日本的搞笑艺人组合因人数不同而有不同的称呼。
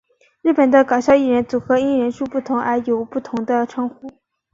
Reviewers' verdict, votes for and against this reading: accepted, 3, 0